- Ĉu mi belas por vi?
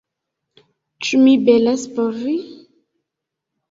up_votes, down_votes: 3, 0